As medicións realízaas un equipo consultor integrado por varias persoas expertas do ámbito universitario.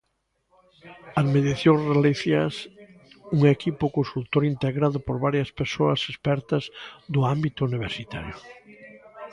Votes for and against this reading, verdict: 0, 2, rejected